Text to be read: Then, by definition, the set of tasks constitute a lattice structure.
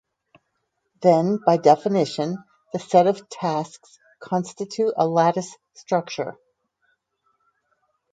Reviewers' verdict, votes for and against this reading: accepted, 4, 0